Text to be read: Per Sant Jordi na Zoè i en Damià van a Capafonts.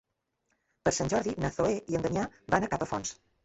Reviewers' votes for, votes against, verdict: 0, 2, rejected